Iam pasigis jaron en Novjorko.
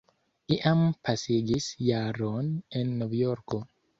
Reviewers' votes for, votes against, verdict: 2, 0, accepted